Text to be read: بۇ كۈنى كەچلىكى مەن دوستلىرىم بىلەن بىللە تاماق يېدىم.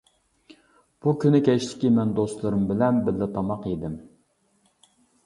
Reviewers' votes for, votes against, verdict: 2, 0, accepted